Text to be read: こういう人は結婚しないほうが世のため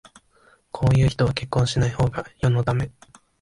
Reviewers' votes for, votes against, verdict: 2, 1, accepted